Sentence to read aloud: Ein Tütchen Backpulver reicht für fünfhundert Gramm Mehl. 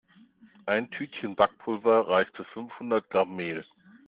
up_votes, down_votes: 2, 0